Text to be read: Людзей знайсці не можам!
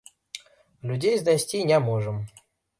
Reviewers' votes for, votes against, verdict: 2, 0, accepted